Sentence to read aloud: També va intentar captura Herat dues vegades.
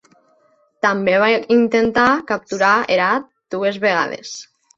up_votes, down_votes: 1, 2